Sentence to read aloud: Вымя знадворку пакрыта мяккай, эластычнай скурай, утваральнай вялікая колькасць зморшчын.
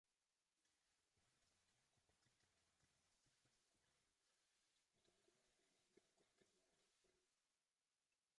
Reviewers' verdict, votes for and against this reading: rejected, 0, 2